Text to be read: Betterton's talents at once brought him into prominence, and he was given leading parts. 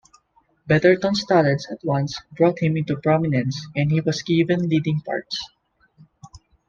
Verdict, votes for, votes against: rejected, 1, 2